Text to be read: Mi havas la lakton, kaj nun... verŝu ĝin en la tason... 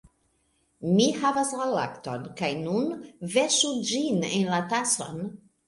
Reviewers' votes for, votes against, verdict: 2, 0, accepted